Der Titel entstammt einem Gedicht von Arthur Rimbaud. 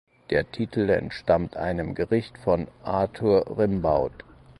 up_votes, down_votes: 2, 4